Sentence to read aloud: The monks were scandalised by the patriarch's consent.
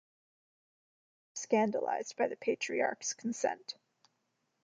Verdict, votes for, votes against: rejected, 0, 2